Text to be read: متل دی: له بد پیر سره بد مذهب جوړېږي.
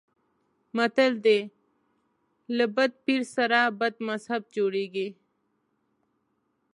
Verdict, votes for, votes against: accepted, 3, 0